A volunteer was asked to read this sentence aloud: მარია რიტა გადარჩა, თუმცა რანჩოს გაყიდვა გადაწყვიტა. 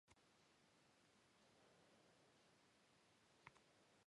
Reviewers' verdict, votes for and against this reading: rejected, 0, 2